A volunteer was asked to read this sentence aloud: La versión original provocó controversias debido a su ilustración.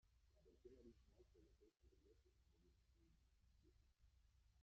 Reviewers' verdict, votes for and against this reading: rejected, 0, 2